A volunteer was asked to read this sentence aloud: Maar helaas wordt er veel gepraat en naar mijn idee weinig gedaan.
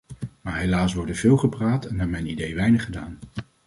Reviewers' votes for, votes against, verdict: 2, 0, accepted